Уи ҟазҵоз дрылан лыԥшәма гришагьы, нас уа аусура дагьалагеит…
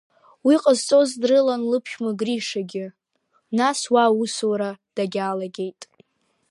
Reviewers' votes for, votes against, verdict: 2, 1, accepted